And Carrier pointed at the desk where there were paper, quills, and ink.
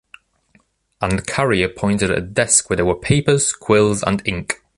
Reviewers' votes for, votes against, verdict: 1, 2, rejected